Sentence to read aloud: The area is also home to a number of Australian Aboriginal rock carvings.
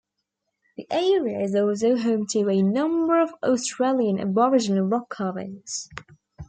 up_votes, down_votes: 2, 1